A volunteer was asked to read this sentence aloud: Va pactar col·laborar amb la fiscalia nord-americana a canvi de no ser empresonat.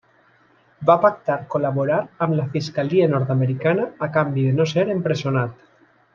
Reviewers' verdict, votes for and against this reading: accepted, 2, 1